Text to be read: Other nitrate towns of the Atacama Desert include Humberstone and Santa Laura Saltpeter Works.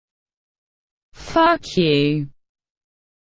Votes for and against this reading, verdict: 0, 2, rejected